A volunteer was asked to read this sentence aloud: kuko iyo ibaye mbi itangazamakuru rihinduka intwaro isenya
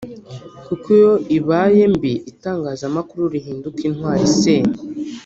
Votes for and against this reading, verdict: 1, 2, rejected